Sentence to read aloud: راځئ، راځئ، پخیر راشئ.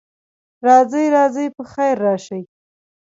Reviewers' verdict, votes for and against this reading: accepted, 2, 0